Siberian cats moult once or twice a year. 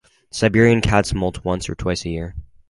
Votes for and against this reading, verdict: 4, 0, accepted